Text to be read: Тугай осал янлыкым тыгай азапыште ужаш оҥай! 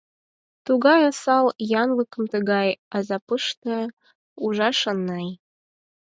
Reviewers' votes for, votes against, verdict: 2, 4, rejected